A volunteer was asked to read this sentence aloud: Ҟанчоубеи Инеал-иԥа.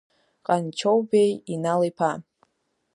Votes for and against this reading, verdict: 0, 2, rejected